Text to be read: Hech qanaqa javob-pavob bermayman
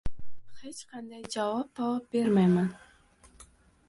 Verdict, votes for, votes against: rejected, 0, 2